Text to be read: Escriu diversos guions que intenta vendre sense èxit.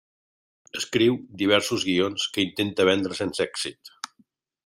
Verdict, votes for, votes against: accepted, 3, 1